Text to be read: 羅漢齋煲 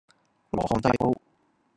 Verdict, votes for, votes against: rejected, 0, 2